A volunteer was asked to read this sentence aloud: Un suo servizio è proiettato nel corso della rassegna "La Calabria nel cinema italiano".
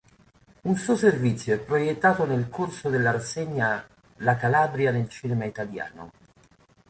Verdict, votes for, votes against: accepted, 2, 0